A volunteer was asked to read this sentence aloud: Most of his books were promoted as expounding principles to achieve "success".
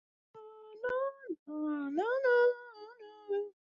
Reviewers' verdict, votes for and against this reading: rejected, 0, 2